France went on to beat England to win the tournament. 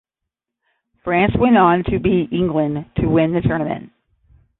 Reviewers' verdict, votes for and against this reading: accepted, 10, 0